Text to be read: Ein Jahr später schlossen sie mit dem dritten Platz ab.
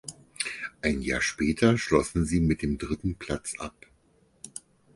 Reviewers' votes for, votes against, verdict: 4, 0, accepted